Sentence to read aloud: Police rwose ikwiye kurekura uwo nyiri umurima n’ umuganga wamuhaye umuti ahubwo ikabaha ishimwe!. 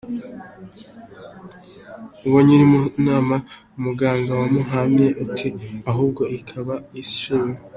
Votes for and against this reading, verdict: 0, 2, rejected